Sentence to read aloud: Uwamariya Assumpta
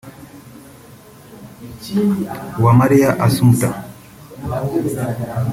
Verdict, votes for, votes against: rejected, 1, 2